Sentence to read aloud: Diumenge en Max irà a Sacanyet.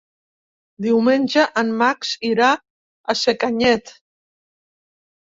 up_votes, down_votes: 4, 0